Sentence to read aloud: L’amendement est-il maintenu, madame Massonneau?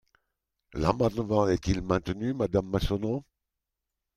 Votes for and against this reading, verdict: 2, 1, accepted